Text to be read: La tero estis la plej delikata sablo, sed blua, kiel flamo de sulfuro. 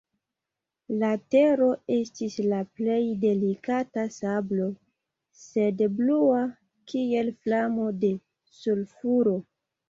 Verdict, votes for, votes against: rejected, 1, 2